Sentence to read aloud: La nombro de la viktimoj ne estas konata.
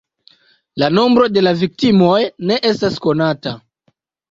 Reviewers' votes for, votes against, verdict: 2, 0, accepted